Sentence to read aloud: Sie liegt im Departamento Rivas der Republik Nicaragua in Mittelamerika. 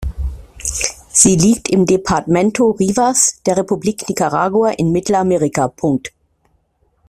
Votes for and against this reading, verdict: 2, 1, accepted